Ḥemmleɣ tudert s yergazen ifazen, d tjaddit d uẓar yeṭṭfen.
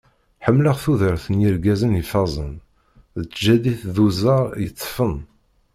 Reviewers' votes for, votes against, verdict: 0, 2, rejected